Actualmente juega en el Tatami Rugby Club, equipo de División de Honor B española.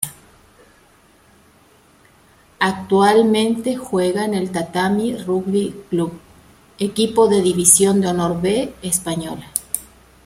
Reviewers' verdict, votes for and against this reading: accepted, 2, 0